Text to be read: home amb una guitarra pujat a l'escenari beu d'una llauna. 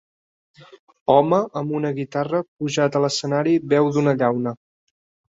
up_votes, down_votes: 2, 0